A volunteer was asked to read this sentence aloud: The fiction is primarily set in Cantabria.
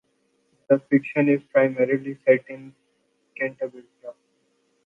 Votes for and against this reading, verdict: 2, 0, accepted